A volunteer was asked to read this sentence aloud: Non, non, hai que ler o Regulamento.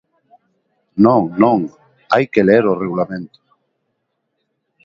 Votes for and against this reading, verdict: 2, 0, accepted